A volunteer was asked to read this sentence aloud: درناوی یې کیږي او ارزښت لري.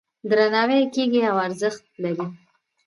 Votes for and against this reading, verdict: 1, 2, rejected